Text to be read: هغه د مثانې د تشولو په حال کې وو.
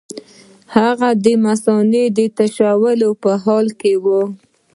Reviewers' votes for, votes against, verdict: 0, 2, rejected